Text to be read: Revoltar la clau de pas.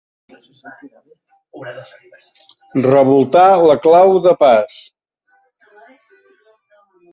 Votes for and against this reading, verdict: 1, 2, rejected